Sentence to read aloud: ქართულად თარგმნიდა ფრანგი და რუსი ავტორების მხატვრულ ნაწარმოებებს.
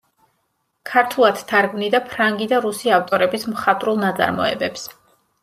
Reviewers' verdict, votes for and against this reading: accepted, 2, 0